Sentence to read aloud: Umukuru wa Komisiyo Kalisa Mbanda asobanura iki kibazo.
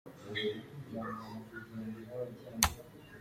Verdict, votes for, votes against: rejected, 0, 2